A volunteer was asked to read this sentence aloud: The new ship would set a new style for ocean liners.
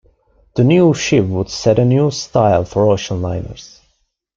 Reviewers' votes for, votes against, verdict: 1, 2, rejected